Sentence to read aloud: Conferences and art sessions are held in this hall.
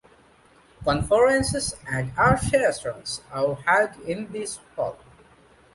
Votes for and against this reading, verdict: 0, 2, rejected